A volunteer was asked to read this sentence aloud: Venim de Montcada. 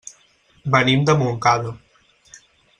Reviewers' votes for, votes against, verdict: 6, 2, accepted